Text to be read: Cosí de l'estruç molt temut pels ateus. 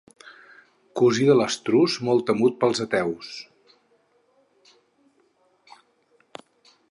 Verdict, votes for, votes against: accepted, 4, 0